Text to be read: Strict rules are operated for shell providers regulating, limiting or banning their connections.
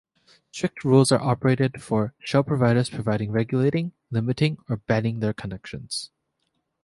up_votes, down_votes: 0, 2